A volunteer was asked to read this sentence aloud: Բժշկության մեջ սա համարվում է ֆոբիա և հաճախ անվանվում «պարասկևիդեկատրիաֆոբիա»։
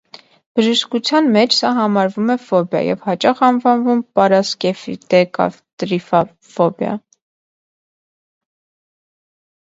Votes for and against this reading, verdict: 0, 2, rejected